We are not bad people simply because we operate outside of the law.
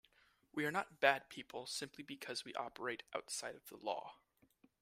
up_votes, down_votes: 2, 0